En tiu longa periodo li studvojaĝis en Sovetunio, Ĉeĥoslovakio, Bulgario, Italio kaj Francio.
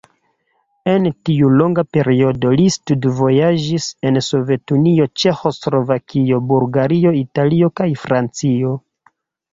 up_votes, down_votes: 2, 0